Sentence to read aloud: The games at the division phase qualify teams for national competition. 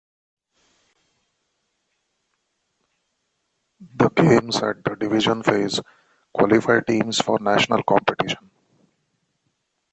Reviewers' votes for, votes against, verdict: 2, 0, accepted